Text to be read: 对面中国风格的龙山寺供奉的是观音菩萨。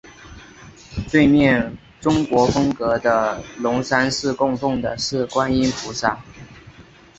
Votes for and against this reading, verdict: 2, 0, accepted